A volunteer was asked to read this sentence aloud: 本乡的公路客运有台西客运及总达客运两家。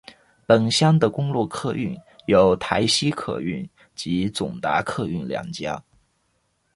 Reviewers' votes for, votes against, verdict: 2, 1, accepted